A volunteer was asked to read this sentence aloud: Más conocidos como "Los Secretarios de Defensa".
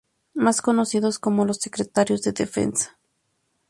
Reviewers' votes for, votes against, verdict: 2, 0, accepted